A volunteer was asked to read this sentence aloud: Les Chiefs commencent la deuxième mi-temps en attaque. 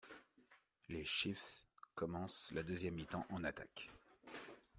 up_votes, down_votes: 1, 2